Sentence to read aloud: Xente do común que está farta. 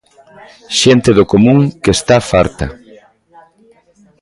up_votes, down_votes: 1, 2